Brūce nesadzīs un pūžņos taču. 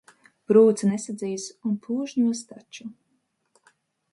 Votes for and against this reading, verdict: 0, 2, rejected